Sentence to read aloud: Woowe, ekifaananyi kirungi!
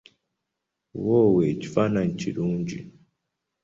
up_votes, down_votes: 2, 0